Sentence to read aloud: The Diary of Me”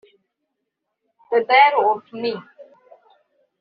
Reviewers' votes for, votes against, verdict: 0, 2, rejected